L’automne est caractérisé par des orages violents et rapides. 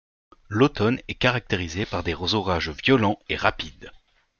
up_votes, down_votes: 2, 0